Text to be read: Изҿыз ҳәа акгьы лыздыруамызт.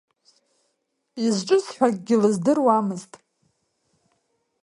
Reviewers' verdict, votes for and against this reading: accepted, 2, 1